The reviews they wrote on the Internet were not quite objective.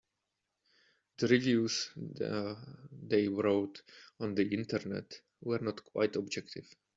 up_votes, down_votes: 0, 2